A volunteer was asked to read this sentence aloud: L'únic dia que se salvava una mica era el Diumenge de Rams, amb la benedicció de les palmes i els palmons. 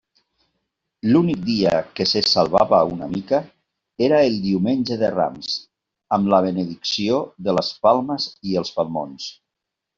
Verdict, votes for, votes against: accepted, 2, 0